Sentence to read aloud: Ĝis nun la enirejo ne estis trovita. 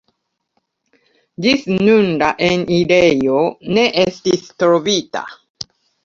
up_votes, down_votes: 2, 0